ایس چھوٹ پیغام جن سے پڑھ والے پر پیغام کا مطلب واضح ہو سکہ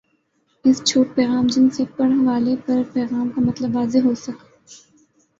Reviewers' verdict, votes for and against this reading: rejected, 0, 2